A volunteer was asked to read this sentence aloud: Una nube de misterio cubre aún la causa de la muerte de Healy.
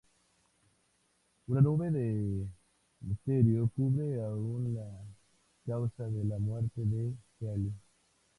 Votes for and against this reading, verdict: 0, 2, rejected